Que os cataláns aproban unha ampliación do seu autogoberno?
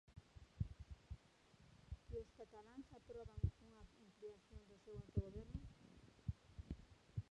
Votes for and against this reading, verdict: 1, 2, rejected